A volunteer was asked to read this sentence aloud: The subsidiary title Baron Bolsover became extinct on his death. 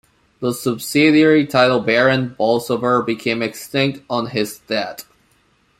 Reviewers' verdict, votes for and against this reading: accepted, 2, 0